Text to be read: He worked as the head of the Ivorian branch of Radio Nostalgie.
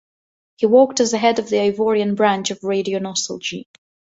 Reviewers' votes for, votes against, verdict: 2, 2, rejected